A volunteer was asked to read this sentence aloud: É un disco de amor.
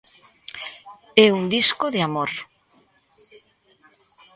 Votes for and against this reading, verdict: 2, 0, accepted